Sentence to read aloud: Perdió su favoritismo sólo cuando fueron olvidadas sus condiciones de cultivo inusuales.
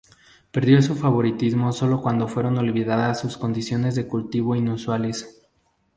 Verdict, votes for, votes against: accepted, 2, 0